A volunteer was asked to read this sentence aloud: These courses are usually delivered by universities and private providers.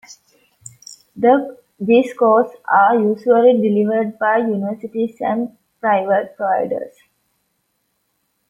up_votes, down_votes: 1, 2